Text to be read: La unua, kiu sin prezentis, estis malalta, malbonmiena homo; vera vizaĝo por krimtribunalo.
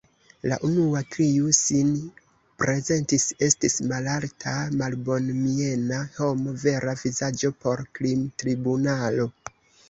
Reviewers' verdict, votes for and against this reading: rejected, 0, 2